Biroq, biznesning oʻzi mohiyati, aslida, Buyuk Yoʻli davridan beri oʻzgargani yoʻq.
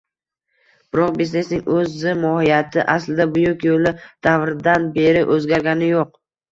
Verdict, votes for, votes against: accepted, 2, 0